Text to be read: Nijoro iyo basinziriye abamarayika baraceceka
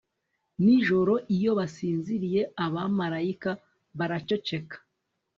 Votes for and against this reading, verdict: 2, 0, accepted